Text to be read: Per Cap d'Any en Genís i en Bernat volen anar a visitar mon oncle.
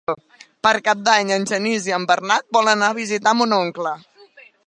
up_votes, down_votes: 3, 1